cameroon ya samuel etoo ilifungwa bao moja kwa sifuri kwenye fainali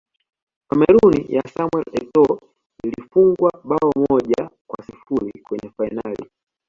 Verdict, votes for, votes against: accepted, 2, 0